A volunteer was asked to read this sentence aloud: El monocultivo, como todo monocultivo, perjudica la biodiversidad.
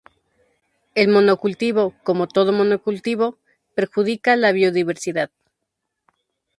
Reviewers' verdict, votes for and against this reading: accepted, 2, 0